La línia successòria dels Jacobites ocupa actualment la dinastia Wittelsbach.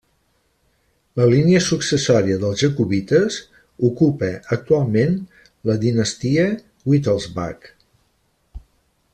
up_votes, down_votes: 3, 0